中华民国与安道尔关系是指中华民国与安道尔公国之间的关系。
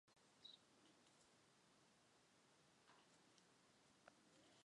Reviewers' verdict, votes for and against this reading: rejected, 0, 3